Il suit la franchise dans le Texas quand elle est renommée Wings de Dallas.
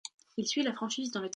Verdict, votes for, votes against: rejected, 0, 2